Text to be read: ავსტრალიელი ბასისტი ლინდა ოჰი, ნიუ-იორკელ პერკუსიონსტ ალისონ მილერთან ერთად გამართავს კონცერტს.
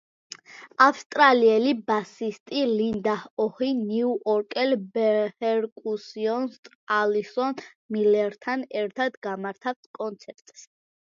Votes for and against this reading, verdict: 0, 2, rejected